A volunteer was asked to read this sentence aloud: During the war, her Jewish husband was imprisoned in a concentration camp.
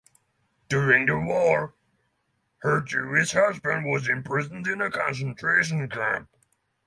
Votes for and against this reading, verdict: 3, 0, accepted